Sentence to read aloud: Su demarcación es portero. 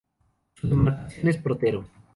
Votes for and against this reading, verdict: 2, 2, rejected